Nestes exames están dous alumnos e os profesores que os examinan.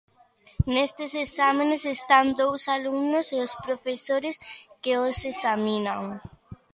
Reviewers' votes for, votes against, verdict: 1, 2, rejected